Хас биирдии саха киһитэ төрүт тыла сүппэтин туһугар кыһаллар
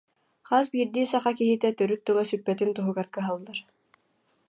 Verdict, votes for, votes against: accepted, 2, 0